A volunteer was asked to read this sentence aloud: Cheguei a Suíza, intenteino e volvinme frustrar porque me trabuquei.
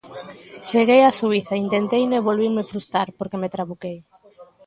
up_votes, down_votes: 1, 2